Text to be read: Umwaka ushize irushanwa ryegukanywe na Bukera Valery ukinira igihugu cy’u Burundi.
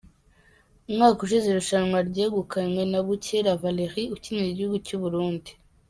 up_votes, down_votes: 2, 0